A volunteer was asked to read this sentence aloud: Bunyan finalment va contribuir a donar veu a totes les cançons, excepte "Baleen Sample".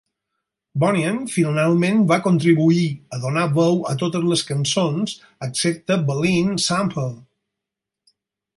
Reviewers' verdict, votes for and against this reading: rejected, 2, 4